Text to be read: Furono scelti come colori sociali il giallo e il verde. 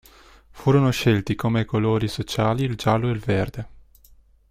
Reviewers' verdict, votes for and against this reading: accepted, 2, 0